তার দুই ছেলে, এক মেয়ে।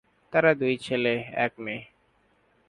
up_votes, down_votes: 7, 8